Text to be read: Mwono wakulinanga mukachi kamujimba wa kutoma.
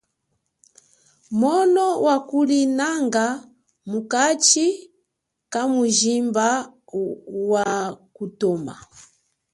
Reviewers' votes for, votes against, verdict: 1, 2, rejected